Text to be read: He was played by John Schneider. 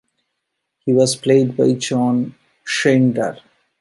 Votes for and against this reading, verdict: 1, 2, rejected